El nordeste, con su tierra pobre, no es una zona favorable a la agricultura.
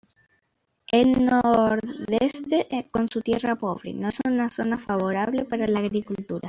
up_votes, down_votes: 2, 1